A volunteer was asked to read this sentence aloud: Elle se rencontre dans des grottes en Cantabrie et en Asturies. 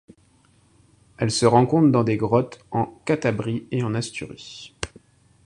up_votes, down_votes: 0, 2